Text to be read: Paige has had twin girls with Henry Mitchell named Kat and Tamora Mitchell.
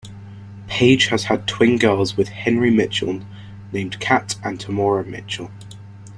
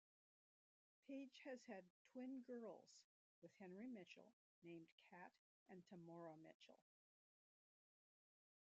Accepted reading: first